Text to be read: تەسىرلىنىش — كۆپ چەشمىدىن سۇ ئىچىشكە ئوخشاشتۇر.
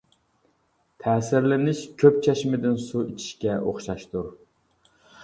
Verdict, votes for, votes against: accepted, 2, 0